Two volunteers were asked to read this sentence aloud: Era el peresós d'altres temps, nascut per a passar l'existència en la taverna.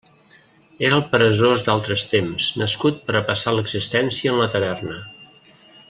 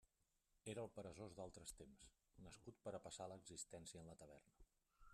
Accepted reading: first